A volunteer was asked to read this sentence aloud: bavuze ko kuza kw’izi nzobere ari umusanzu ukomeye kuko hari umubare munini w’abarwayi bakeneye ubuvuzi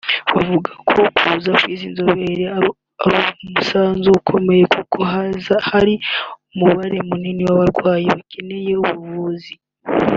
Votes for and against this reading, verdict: 0, 2, rejected